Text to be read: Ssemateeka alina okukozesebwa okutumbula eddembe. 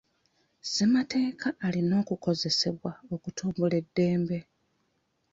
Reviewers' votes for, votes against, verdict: 2, 1, accepted